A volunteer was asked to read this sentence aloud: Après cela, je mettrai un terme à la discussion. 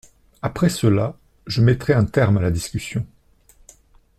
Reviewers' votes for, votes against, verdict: 2, 0, accepted